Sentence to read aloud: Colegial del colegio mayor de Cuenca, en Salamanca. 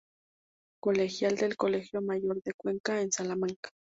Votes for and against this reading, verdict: 2, 0, accepted